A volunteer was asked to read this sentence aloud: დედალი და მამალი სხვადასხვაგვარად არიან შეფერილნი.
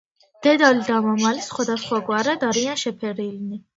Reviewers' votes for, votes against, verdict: 1, 2, rejected